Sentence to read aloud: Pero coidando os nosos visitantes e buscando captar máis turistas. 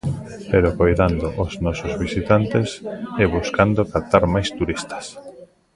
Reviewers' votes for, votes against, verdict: 0, 2, rejected